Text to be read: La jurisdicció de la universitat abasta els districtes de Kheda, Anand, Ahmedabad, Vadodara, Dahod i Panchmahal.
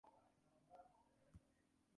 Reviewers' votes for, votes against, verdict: 0, 3, rejected